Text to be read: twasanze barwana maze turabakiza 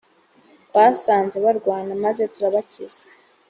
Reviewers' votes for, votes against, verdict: 2, 0, accepted